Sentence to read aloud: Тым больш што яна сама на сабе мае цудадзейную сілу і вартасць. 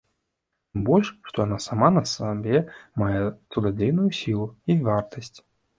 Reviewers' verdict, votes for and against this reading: rejected, 0, 2